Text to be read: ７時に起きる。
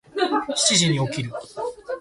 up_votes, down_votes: 0, 2